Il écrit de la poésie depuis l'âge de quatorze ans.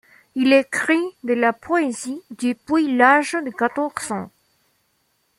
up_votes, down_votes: 2, 1